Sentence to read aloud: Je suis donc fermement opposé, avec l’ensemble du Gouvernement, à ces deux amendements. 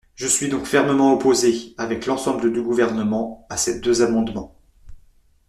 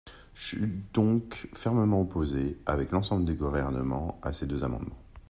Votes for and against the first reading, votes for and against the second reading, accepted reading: 2, 0, 1, 2, first